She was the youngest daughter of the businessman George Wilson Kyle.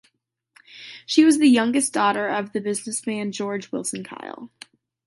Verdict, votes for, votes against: accepted, 2, 0